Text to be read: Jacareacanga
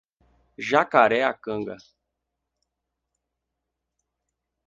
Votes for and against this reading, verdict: 4, 0, accepted